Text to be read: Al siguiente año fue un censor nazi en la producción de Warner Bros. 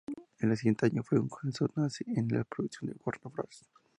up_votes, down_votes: 0, 2